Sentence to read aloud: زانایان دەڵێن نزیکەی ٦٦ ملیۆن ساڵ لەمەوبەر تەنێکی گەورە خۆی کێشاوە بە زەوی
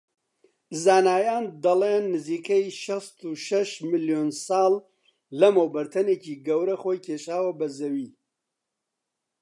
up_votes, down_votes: 0, 2